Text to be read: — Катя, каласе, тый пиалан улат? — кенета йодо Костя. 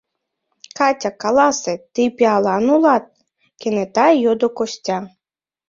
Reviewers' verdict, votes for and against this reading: accepted, 2, 0